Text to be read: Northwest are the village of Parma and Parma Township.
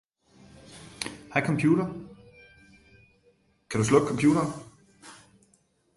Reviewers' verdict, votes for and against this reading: rejected, 0, 2